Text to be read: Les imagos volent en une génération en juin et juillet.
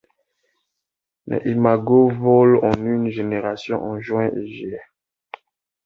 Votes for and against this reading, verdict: 2, 0, accepted